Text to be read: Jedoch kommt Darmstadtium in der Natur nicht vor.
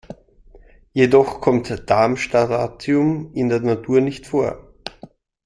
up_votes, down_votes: 1, 2